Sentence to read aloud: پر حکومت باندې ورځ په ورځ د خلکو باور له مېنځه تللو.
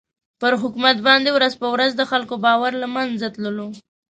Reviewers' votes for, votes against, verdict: 2, 0, accepted